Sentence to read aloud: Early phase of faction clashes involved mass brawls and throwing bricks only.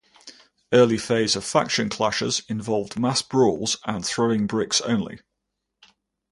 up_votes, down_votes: 4, 0